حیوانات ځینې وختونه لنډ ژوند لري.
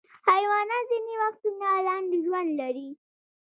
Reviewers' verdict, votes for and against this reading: accepted, 2, 0